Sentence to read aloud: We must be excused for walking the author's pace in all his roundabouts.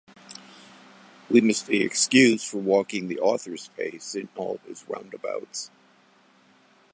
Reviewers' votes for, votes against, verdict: 2, 0, accepted